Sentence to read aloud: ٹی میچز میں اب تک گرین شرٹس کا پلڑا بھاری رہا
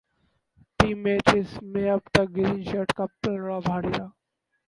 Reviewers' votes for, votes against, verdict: 0, 4, rejected